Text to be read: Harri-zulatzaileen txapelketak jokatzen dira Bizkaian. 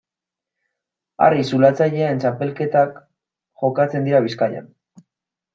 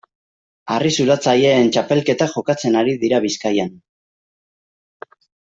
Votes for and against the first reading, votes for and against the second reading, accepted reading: 2, 0, 0, 2, first